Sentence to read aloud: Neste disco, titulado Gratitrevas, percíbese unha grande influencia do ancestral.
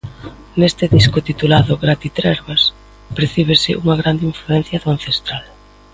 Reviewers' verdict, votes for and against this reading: rejected, 0, 2